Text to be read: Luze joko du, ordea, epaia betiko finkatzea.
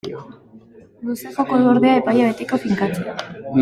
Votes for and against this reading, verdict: 0, 2, rejected